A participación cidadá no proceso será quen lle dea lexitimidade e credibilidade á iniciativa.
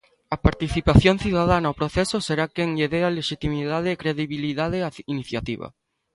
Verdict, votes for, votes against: accepted, 2, 0